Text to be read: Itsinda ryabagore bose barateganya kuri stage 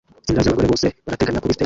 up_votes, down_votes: 0, 2